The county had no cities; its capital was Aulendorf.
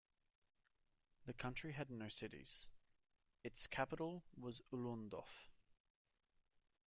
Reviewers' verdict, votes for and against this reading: rejected, 0, 2